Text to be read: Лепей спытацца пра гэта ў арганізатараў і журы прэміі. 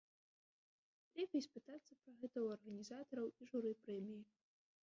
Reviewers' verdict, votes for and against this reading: rejected, 0, 2